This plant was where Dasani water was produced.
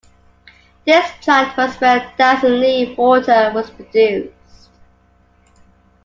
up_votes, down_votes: 2, 1